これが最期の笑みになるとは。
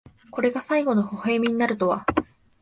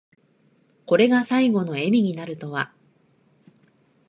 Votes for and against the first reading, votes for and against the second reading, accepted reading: 1, 2, 2, 1, second